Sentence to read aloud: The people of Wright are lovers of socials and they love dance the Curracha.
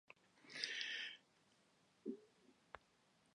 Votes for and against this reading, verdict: 0, 2, rejected